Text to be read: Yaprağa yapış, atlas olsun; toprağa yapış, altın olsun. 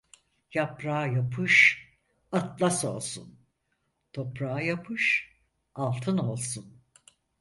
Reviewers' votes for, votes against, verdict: 4, 0, accepted